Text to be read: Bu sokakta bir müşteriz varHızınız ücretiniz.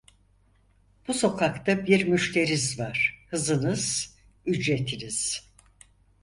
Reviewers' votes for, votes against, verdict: 4, 0, accepted